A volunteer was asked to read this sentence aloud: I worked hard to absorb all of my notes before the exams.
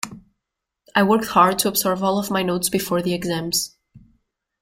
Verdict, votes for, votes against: rejected, 0, 2